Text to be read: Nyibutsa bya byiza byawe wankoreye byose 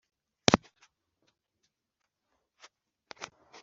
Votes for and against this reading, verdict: 0, 2, rejected